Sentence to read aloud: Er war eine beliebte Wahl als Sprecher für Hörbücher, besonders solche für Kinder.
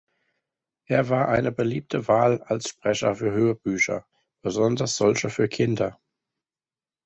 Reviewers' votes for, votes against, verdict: 2, 0, accepted